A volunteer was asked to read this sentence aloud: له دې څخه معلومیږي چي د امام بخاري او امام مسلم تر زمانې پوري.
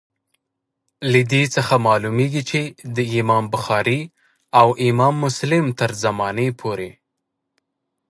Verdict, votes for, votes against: accepted, 6, 0